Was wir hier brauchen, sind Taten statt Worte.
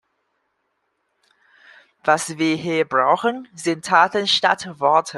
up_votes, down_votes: 2, 0